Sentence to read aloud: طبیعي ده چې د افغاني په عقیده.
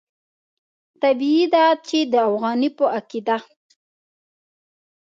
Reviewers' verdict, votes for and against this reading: accepted, 2, 0